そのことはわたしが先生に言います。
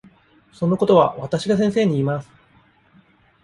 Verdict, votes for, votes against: rejected, 1, 2